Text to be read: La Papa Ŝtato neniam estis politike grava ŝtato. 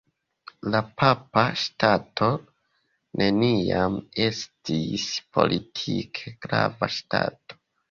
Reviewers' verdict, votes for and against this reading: rejected, 1, 2